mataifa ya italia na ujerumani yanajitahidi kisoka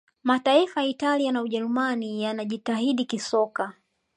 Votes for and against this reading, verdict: 2, 0, accepted